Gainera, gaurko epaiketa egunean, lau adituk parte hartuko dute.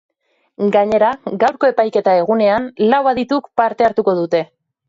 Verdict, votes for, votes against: accepted, 2, 0